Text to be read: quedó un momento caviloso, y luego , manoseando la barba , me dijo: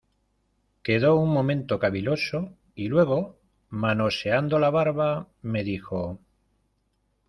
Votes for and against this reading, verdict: 2, 0, accepted